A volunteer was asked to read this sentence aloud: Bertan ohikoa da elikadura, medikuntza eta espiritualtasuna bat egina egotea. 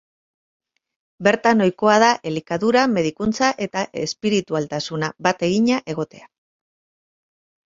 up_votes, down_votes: 4, 0